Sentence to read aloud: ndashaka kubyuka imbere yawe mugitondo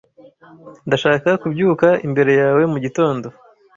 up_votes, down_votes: 2, 0